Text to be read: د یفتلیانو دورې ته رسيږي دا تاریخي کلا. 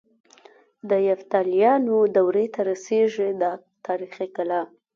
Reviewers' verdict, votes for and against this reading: accepted, 2, 0